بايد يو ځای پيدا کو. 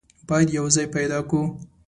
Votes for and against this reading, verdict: 2, 0, accepted